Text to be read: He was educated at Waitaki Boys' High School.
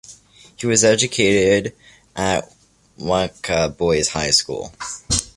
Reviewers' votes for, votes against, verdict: 0, 2, rejected